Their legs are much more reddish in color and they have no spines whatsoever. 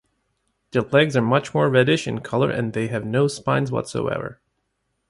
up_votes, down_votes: 2, 2